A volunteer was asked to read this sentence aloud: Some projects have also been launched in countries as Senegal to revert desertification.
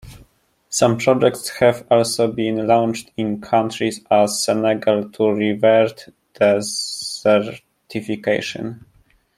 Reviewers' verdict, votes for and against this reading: rejected, 0, 2